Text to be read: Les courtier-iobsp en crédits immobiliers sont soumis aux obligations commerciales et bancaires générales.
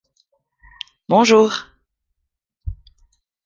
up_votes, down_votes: 0, 2